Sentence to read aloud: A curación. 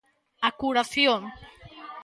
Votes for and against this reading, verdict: 2, 0, accepted